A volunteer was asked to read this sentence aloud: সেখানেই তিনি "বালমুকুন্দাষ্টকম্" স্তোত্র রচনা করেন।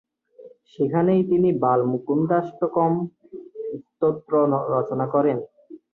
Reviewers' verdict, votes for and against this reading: rejected, 0, 2